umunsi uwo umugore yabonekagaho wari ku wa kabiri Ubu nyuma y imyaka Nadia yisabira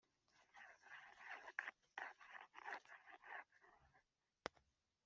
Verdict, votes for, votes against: accepted, 2, 1